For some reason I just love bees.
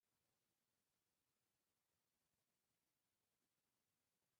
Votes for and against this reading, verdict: 0, 2, rejected